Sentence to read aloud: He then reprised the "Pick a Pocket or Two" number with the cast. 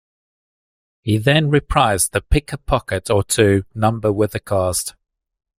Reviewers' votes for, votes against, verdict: 2, 0, accepted